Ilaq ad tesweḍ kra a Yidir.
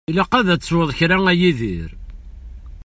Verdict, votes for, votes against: accepted, 2, 0